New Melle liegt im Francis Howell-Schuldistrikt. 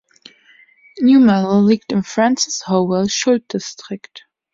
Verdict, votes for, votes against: rejected, 1, 2